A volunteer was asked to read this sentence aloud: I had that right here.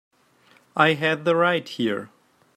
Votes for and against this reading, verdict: 0, 2, rejected